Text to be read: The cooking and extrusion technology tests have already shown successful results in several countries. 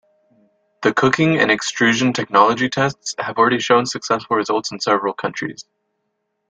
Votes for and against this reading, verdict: 2, 0, accepted